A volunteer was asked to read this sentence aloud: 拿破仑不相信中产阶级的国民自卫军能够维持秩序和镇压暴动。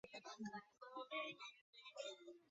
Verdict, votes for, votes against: rejected, 2, 2